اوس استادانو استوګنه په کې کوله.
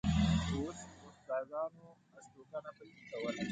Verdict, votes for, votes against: rejected, 0, 2